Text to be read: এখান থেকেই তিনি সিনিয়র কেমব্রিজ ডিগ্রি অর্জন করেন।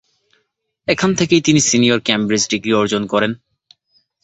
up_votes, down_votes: 2, 0